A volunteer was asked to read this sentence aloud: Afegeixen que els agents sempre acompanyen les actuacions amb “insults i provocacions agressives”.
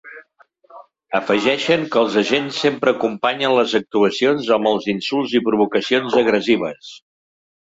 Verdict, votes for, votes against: rejected, 1, 3